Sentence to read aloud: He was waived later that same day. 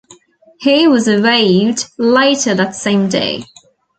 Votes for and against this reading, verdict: 2, 0, accepted